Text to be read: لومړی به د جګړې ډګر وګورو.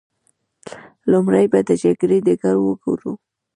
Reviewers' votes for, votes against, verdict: 2, 0, accepted